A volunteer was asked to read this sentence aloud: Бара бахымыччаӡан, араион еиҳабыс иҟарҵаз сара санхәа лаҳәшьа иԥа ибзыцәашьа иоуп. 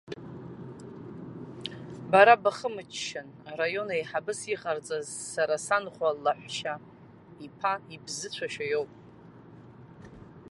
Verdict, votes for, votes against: rejected, 0, 2